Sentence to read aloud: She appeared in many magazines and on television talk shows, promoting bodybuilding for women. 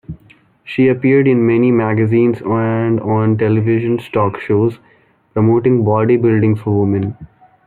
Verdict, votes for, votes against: rejected, 0, 2